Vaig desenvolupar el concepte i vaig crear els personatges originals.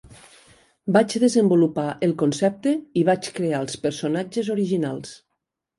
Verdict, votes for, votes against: accepted, 3, 0